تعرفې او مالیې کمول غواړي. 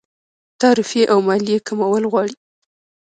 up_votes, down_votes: 1, 2